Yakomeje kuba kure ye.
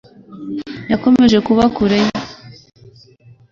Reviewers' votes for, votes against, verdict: 2, 0, accepted